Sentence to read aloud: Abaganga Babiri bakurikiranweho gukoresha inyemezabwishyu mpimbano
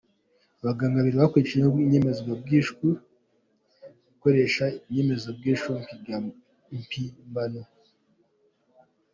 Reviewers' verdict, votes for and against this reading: rejected, 1, 2